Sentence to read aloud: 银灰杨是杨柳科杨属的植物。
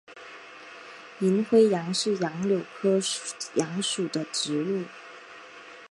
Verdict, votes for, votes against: rejected, 0, 2